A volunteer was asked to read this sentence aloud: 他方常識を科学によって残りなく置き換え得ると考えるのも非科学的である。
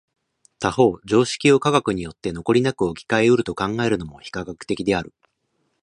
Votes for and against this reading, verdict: 2, 0, accepted